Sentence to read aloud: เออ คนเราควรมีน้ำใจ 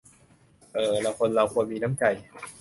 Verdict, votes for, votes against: rejected, 0, 2